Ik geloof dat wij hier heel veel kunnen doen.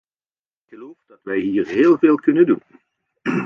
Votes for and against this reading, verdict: 1, 2, rejected